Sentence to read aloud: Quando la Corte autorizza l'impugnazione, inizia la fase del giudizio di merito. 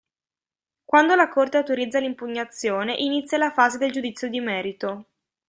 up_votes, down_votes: 2, 0